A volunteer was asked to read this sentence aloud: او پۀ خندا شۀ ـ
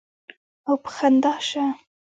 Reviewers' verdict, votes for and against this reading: rejected, 1, 2